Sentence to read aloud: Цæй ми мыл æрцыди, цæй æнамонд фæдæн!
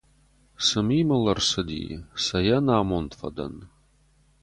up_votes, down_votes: 0, 4